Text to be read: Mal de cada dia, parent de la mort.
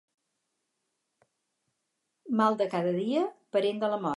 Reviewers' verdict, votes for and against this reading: rejected, 2, 2